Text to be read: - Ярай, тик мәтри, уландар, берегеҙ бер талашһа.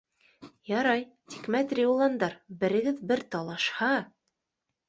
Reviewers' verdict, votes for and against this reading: accepted, 2, 0